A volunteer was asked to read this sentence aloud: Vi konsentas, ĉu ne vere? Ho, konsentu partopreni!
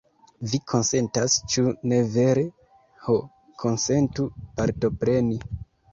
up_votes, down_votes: 2, 0